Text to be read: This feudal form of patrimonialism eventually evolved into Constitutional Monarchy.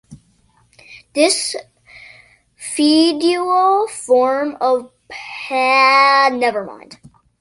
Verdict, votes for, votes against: rejected, 0, 2